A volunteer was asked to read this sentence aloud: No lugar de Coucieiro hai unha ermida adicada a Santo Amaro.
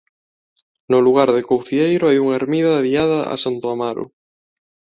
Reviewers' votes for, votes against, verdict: 0, 2, rejected